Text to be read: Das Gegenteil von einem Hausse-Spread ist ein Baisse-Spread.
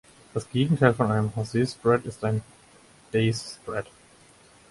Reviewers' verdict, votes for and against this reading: rejected, 2, 4